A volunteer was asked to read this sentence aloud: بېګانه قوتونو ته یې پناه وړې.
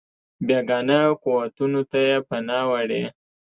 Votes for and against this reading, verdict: 2, 0, accepted